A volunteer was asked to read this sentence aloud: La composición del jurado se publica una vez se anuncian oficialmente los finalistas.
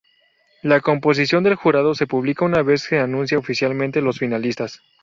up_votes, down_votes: 2, 2